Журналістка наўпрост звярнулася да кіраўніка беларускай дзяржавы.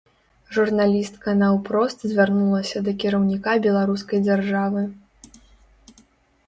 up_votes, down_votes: 2, 0